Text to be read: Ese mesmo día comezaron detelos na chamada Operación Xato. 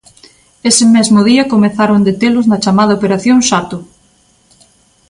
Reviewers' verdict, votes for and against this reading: accepted, 2, 0